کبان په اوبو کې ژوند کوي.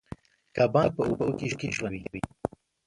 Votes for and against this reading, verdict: 1, 2, rejected